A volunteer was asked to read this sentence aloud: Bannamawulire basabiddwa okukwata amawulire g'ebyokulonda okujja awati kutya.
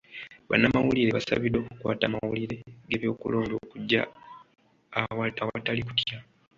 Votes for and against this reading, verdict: 0, 2, rejected